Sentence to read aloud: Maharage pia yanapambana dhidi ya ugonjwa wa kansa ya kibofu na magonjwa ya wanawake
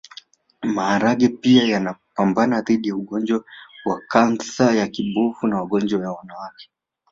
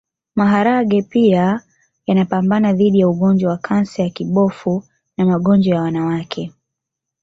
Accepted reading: second